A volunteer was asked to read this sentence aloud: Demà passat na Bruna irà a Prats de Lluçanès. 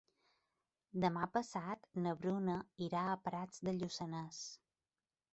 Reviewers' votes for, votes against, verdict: 3, 0, accepted